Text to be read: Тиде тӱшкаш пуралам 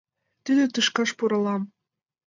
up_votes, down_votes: 2, 0